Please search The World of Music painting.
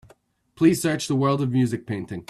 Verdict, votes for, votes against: accepted, 2, 0